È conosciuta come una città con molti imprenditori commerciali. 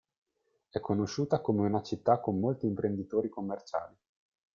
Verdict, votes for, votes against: accepted, 2, 0